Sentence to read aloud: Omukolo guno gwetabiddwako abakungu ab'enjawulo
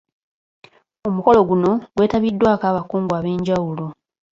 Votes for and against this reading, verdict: 2, 1, accepted